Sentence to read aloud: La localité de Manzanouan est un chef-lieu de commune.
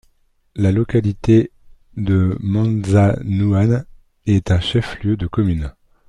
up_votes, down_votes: 2, 1